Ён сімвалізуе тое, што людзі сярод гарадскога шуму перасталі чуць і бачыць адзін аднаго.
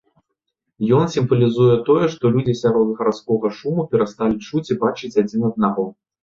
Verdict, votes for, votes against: accepted, 2, 0